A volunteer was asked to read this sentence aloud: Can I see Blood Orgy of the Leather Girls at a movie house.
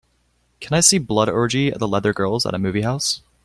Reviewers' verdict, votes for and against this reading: accepted, 2, 0